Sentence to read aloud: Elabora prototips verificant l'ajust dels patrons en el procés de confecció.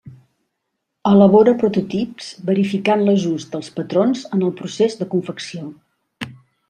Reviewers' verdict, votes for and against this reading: accepted, 2, 0